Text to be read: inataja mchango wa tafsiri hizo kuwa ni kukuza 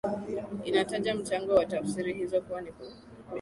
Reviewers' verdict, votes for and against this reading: accepted, 8, 0